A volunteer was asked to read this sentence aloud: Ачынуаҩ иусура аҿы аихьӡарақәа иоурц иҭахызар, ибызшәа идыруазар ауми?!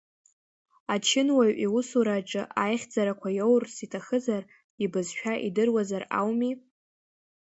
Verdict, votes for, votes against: accepted, 2, 0